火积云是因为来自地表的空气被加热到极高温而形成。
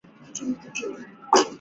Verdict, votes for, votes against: rejected, 0, 2